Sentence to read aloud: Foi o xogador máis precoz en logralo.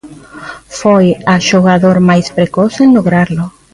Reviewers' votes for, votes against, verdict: 0, 3, rejected